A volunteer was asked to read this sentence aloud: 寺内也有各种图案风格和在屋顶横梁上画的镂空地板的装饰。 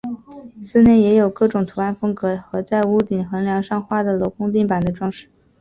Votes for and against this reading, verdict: 2, 0, accepted